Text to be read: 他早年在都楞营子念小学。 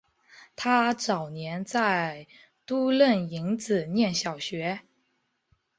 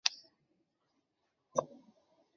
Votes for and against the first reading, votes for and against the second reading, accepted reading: 5, 0, 0, 2, first